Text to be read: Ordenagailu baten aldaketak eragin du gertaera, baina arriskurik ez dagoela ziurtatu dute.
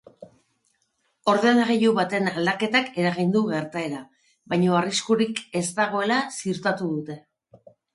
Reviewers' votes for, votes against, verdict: 3, 0, accepted